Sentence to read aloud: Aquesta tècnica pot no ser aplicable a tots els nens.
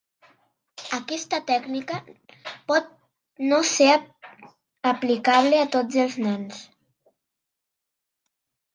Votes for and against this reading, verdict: 3, 0, accepted